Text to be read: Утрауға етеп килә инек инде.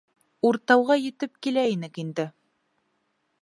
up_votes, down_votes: 1, 2